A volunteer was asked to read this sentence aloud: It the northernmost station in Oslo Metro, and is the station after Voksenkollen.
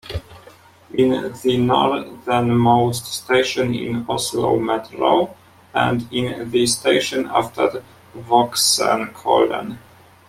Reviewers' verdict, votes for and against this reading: rejected, 0, 2